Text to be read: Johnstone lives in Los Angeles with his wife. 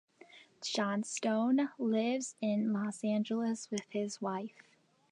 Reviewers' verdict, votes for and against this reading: rejected, 0, 2